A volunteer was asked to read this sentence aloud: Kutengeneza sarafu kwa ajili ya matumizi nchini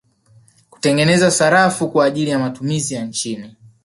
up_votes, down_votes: 0, 2